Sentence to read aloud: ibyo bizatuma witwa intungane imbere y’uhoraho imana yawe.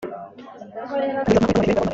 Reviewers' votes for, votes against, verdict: 0, 2, rejected